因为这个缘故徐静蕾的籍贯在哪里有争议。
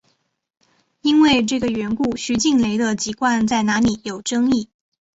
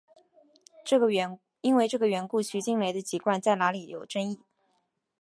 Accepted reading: first